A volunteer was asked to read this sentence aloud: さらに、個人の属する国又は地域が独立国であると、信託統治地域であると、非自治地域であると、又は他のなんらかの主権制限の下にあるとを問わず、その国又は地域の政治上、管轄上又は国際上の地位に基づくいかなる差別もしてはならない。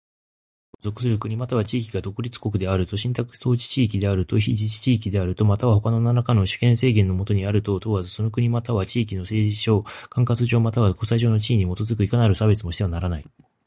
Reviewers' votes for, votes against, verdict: 2, 0, accepted